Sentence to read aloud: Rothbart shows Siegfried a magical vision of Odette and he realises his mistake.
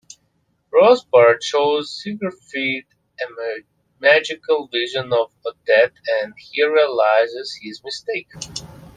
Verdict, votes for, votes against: rejected, 0, 2